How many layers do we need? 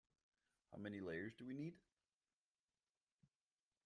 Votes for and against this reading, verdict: 1, 2, rejected